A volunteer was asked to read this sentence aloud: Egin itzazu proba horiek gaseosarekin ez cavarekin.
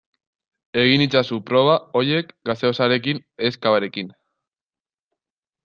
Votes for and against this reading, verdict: 0, 2, rejected